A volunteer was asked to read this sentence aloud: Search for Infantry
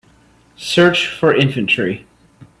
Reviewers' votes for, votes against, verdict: 2, 0, accepted